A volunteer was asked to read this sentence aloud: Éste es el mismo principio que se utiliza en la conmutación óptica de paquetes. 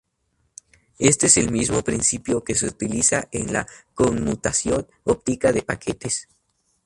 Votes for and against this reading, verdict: 4, 0, accepted